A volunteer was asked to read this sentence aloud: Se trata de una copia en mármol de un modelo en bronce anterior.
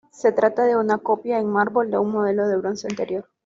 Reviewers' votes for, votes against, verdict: 1, 2, rejected